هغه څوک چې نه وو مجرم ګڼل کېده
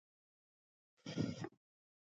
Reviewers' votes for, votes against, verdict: 0, 2, rejected